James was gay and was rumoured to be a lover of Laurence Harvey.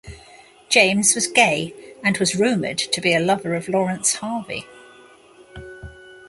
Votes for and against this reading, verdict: 2, 1, accepted